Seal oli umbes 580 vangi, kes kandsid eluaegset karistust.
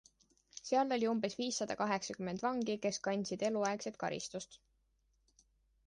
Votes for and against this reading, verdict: 0, 2, rejected